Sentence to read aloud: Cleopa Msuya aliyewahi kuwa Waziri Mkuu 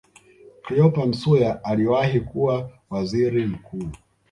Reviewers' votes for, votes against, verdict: 2, 0, accepted